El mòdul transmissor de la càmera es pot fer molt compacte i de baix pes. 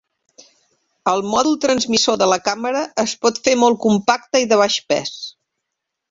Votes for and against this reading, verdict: 2, 0, accepted